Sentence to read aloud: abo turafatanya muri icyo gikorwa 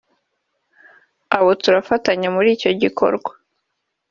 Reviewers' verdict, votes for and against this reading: accepted, 2, 0